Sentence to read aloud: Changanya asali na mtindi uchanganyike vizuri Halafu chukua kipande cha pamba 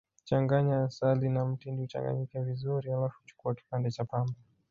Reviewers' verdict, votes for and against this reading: rejected, 1, 2